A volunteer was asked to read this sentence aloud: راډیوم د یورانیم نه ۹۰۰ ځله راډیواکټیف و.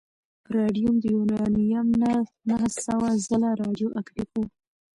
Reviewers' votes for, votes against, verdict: 0, 2, rejected